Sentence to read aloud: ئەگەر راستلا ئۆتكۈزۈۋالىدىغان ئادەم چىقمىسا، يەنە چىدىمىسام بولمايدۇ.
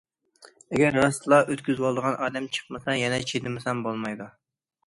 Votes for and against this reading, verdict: 2, 0, accepted